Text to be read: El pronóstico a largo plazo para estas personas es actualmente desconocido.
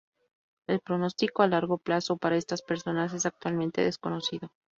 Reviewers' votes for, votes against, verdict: 2, 0, accepted